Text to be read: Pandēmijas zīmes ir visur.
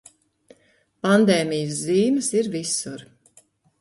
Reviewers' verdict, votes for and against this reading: rejected, 1, 2